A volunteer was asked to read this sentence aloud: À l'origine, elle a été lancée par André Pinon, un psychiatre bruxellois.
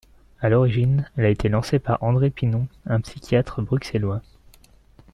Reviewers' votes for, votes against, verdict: 2, 0, accepted